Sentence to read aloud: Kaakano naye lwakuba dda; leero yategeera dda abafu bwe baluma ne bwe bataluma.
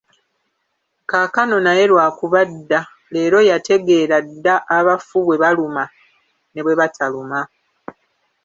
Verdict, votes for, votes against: rejected, 1, 2